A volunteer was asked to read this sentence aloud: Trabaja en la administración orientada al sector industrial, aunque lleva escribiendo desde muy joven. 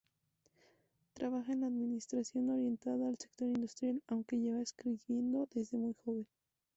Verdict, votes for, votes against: accepted, 6, 0